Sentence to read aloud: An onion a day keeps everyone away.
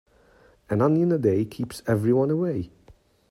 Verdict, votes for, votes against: accepted, 2, 0